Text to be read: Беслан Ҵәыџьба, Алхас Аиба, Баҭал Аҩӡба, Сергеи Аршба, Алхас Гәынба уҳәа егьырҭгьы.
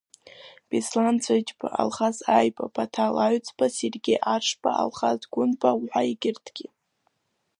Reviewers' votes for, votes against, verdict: 0, 2, rejected